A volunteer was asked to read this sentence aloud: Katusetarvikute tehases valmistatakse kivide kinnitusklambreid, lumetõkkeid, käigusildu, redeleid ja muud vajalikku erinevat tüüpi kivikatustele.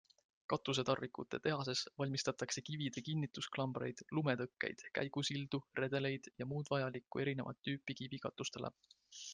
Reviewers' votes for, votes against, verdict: 2, 0, accepted